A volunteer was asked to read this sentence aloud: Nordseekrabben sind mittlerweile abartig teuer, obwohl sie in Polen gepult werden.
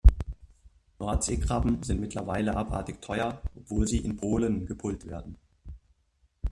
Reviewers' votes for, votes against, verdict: 1, 2, rejected